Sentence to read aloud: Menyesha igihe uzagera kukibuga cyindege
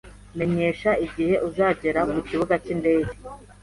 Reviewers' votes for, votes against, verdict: 2, 0, accepted